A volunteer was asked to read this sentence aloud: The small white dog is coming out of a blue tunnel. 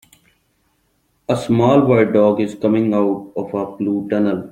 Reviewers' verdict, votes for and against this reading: rejected, 0, 2